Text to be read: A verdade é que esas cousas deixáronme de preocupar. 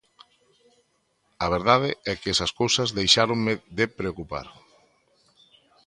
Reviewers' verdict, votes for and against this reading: accepted, 2, 0